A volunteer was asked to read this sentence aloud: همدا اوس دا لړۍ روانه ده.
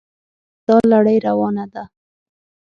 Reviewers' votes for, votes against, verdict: 3, 6, rejected